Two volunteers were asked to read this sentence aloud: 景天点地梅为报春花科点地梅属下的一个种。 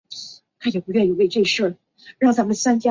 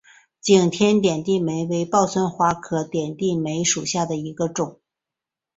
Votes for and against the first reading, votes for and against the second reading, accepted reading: 0, 5, 2, 1, second